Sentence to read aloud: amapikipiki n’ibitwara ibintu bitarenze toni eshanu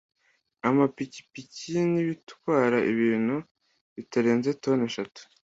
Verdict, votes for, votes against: accepted, 2, 0